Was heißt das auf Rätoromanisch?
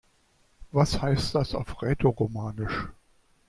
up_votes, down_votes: 3, 0